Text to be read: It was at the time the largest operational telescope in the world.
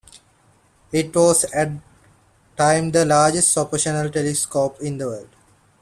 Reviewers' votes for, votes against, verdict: 0, 2, rejected